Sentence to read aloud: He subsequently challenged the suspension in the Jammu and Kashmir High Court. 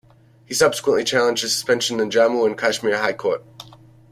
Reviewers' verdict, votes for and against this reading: rejected, 1, 2